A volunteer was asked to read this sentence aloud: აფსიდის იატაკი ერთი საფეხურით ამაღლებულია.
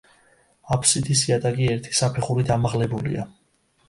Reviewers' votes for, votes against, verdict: 2, 0, accepted